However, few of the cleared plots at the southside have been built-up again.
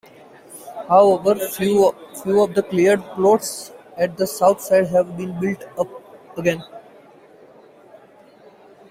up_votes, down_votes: 0, 2